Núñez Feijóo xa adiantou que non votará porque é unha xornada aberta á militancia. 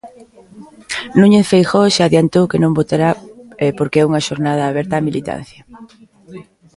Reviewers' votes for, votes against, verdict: 0, 2, rejected